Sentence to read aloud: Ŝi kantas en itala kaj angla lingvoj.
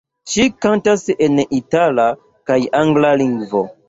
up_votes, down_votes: 0, 2